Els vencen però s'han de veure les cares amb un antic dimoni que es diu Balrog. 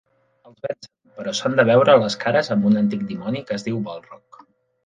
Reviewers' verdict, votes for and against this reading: rejected, 0, 2